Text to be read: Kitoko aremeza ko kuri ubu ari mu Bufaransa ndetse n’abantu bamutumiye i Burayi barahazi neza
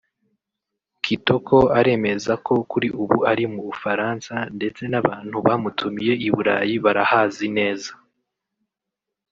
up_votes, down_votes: 0, 2